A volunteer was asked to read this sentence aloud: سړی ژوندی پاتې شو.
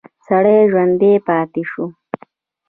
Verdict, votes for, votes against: accepted, 2, 0